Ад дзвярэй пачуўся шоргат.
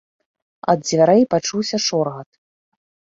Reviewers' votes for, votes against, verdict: 2, 0, accepted